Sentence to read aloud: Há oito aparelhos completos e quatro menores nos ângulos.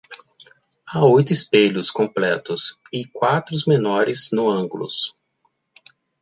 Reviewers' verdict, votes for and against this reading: rejected, 0, 2